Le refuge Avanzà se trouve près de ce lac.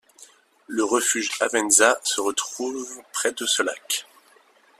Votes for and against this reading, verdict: 2, 1, accepted